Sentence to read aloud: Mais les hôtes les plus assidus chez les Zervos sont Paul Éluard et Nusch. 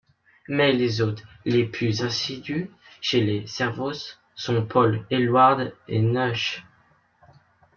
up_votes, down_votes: 0, 2